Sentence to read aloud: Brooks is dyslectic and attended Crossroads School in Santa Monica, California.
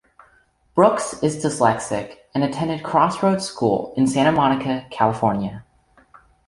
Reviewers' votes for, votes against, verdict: 2, 1, accepted